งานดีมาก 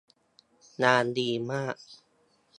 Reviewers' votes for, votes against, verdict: 2, 0, accepted